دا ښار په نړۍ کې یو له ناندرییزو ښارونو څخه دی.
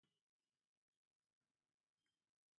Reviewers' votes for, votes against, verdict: 0, 2, rejected